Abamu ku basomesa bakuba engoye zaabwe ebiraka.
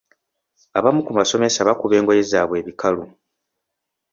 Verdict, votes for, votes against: rejected, 0, 2